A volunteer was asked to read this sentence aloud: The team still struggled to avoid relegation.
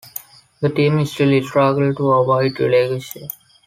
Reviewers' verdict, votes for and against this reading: rejected, 1, 3